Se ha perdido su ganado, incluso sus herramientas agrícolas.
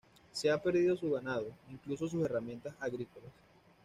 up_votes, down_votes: 2, 1